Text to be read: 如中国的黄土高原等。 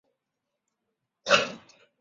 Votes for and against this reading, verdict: 0, 2, rejected